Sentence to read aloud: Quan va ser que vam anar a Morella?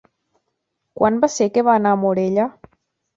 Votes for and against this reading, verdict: 0, 2, rejected